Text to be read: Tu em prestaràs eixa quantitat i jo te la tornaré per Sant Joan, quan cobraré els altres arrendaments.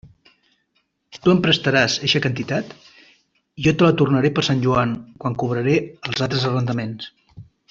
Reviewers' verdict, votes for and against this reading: rejected, 1, 2